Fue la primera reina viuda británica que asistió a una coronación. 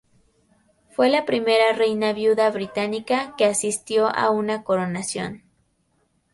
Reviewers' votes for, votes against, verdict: 2, 0, accepted